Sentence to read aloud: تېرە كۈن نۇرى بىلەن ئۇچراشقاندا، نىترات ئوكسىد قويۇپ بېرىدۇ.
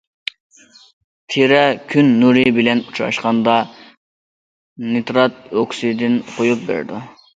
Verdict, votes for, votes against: rejected, 0, 2